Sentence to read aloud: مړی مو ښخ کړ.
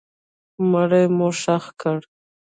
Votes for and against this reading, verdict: 0, 2, rejected